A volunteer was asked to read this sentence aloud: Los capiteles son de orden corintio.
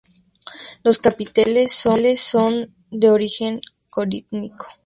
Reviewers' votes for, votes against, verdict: 0, 2, rejected